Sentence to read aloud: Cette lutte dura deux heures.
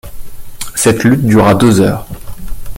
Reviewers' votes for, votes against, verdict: 2, 0, accepted